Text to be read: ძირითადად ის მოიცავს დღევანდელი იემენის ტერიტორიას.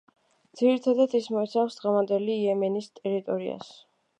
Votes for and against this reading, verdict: 2, 1, accepted